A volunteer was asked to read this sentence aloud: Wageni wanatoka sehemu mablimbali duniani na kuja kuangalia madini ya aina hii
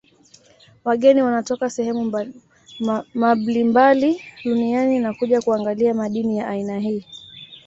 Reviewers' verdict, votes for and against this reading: accepted, 2, 0